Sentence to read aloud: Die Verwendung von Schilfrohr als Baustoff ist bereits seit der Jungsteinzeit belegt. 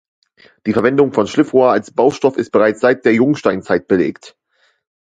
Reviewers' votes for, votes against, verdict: 0, 2, rejected